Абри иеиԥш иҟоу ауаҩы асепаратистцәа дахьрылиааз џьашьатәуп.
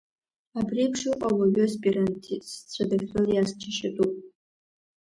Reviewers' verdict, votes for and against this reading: rejected, 0, 2